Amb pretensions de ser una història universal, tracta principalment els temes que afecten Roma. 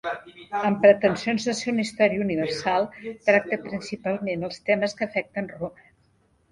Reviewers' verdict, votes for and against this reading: rejected, 0, 2